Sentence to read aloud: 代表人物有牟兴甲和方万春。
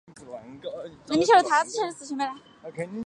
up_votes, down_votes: 0, 4